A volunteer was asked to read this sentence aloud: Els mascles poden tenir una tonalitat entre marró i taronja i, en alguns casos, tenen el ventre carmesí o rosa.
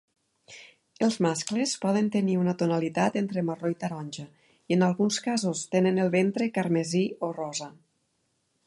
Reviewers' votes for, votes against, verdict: 4, 0, accepted